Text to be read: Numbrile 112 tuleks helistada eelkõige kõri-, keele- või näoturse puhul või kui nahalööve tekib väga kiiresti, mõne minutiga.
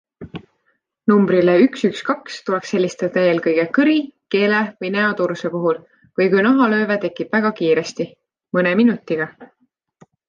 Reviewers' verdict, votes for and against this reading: rejected, 0, 2